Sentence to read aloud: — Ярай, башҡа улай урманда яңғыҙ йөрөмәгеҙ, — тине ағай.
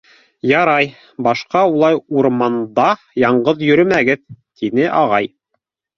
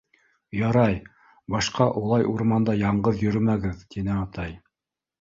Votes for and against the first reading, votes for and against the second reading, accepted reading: 2, 0, 0, 2, first